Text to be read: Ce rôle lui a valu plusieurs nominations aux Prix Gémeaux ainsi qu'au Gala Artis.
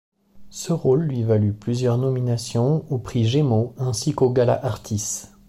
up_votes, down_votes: 0, 2